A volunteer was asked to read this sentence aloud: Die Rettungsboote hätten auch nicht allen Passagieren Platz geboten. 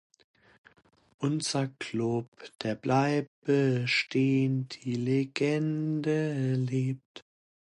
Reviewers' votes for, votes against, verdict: 0, 2, rejected